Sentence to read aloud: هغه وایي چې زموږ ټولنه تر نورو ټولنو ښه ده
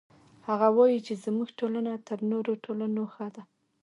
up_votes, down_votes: 1, 2